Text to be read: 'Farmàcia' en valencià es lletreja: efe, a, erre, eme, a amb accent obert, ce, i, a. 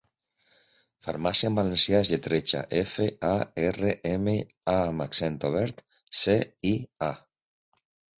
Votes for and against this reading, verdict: 2, 0, accepted